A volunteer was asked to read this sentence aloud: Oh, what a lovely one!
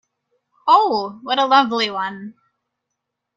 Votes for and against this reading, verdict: 2, 0, accepted